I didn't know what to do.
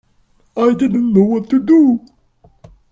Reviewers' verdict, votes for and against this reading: accepted, 2, 0